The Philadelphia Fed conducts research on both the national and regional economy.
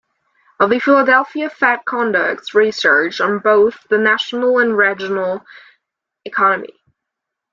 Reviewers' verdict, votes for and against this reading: rejected, 1, 2